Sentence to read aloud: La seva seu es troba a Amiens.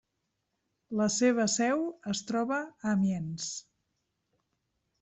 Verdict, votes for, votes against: accepted, 3, 0